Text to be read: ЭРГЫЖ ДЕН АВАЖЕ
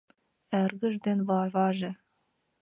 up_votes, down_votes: 0, 2